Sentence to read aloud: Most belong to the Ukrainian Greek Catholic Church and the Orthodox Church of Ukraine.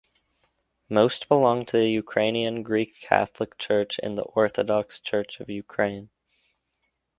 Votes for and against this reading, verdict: 2, 0, accepted